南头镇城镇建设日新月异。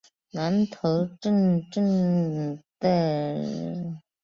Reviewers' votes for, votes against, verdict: 0, 4, rejected